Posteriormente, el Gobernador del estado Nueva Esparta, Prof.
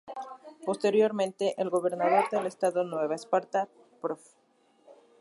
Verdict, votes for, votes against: rejected, 2, 2